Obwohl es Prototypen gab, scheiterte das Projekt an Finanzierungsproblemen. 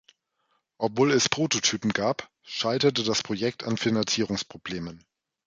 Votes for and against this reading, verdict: 2, 0, accepted